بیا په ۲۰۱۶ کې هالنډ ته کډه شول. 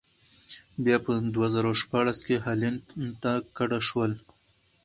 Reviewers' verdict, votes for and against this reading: rejected, 0, 2